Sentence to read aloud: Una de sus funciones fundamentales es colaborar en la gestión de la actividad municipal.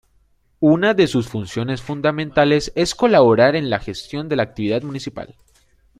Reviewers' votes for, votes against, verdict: 2, 0, accepted